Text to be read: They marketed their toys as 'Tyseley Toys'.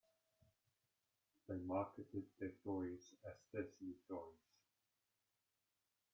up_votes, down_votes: 1, 3